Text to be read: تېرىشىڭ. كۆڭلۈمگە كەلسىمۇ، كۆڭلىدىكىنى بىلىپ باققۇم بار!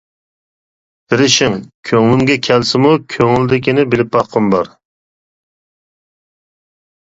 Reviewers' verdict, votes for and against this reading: accepted, 2, 0